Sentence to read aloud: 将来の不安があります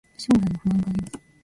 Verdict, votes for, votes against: accepted, 2, 1